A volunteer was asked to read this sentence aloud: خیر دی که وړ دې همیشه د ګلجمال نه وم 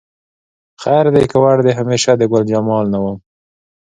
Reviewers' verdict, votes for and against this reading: accepted, 2, 0